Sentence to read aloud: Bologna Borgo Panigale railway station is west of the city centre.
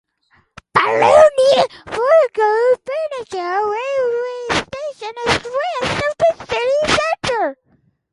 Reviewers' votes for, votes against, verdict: 2, 2, rejected